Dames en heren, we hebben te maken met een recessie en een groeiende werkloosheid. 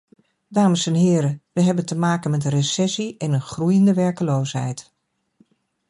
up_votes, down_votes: 2, 0